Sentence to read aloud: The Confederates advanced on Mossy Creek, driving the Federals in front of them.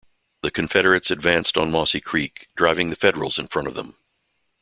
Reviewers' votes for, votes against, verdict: 2, 0, accepted